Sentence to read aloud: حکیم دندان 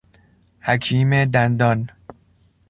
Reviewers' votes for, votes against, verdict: 2, 0, accepted